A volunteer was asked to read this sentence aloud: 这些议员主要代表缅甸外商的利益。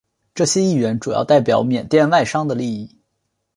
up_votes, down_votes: 3, 0